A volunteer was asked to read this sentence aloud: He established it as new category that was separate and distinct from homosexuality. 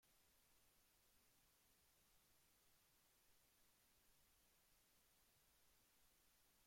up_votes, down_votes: 0, 2